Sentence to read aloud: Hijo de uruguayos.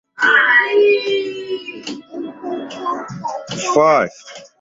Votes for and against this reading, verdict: 0, 4, rejected